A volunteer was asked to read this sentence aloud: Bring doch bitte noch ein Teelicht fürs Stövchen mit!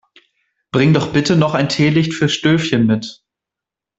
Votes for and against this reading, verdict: 0, 2, rejected